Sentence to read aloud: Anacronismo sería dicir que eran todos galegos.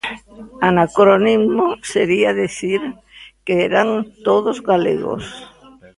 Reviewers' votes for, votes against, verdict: 0, 2, rejected